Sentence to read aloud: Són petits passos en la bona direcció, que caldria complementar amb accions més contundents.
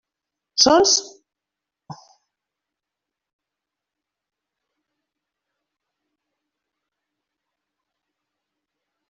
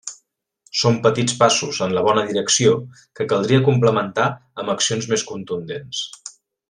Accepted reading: second